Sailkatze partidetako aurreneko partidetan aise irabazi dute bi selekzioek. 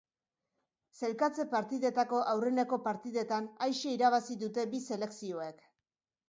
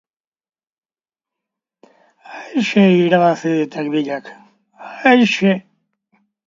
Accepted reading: first